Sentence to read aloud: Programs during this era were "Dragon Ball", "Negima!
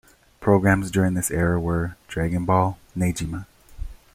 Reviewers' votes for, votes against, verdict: 2, 0, accepted